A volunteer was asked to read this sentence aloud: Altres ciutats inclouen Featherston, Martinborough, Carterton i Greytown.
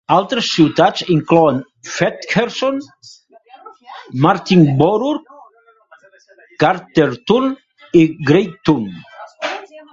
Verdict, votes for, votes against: rejected, 1, 2